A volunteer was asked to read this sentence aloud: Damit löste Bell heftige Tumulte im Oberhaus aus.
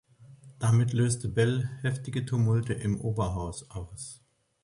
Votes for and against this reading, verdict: 2, 0, accepted